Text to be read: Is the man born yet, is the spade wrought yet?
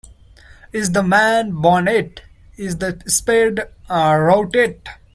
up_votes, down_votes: 0, 2